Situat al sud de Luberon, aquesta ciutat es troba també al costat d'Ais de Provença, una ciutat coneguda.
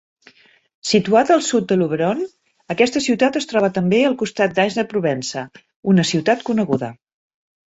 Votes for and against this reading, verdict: 2, 0, accepted